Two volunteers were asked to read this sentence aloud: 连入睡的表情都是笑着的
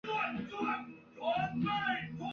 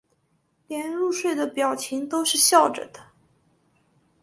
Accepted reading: second